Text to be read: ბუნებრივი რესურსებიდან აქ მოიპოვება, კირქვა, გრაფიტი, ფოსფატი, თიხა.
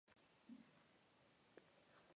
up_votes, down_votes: 0, 2